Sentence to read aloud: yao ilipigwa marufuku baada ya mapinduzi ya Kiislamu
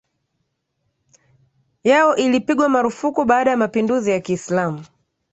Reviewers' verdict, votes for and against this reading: accepted, 3, 0